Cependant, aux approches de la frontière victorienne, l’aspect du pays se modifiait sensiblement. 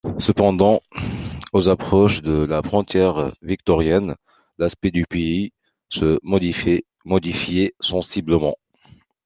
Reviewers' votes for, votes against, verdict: 0, 2, rejected